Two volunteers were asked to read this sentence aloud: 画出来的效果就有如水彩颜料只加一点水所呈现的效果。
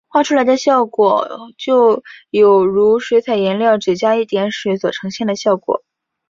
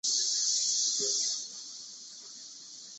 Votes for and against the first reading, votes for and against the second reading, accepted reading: 3, 0, 0, 2, first